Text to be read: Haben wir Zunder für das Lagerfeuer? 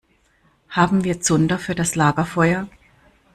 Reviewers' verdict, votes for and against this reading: rejected, 1, 2